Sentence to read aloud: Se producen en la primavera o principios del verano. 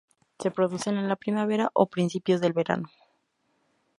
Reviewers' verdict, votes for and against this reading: accepted, 2, 0